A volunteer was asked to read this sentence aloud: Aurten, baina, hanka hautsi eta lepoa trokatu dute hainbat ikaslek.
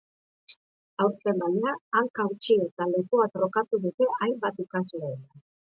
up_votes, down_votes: 2, 0